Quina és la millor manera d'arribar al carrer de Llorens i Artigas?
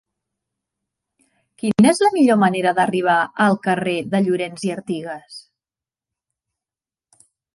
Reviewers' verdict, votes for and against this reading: accepted, 3, 1